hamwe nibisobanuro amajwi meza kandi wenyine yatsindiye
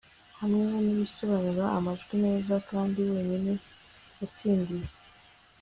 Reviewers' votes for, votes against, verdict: 2, 0, accepted